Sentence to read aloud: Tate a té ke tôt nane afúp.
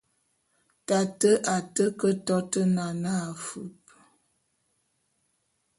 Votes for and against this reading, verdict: 2, 1, accepted